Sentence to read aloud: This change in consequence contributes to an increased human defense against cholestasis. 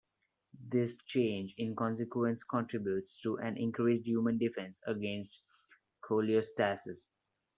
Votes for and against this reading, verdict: 1, 2, rejected